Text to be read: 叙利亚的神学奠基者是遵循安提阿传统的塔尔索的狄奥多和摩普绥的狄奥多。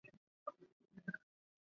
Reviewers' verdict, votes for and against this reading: rejected, 0, 2